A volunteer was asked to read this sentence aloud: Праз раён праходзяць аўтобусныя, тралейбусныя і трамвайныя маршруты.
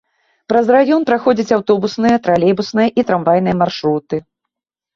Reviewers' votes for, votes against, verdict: 2, 0, accepted